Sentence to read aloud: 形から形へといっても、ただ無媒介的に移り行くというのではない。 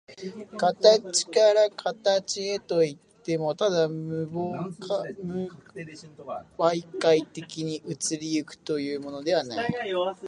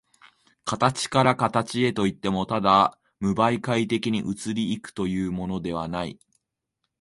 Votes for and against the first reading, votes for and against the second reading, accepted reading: 0, 2, 2, 0, second